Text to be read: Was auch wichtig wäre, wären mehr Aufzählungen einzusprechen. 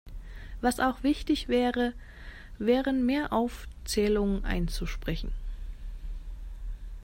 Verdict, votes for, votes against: accepted, 2, 0